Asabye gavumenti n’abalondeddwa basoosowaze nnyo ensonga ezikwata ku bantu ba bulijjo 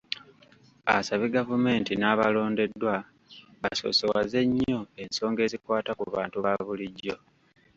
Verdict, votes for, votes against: rejected, 1, 2